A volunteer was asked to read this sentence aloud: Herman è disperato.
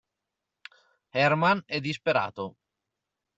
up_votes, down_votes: 2, 0